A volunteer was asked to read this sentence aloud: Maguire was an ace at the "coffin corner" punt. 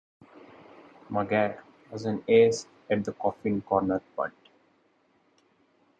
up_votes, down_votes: 2, 0